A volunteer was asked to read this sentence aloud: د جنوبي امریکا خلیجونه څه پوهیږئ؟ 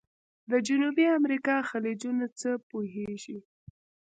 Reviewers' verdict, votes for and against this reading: rejected, 0, 2